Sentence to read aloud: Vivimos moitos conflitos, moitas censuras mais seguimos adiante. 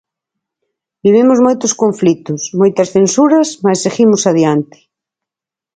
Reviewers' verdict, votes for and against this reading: accepted, 4, 0